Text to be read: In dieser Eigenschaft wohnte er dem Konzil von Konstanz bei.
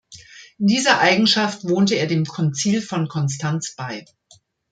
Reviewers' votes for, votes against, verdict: 1, 2, rejected